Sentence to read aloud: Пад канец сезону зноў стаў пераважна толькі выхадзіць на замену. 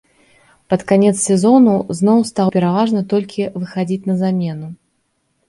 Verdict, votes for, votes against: accepted, 2, 0